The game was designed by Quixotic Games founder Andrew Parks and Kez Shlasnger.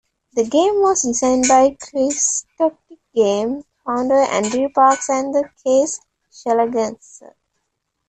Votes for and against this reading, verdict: 1, 2, rejected